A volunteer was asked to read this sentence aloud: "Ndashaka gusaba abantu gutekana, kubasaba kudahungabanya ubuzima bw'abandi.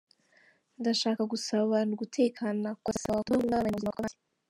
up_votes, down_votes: 0, 2